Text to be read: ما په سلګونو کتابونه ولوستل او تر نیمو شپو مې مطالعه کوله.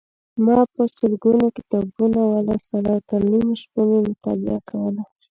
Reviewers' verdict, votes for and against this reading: accepted, 2, 0